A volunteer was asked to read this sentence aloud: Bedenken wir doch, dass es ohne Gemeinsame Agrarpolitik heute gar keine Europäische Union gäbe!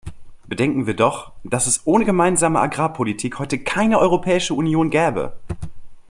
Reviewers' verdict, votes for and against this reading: rejected, 1, 2